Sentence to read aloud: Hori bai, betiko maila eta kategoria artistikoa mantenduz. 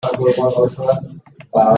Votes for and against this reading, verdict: 0, 2, rejected